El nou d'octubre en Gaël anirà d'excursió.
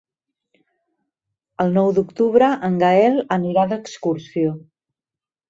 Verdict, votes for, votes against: accepted, 3, 0